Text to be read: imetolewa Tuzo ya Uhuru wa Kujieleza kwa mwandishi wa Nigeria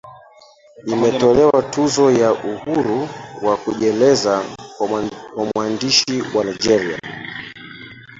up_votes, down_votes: 0, 2